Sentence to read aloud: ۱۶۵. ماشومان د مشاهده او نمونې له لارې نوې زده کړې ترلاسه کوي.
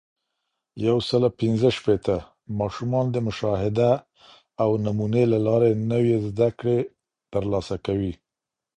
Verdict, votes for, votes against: rejected, 0, 2